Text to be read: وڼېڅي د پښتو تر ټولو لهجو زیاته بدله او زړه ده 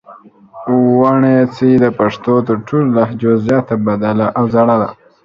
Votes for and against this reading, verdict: 2, 0, accepted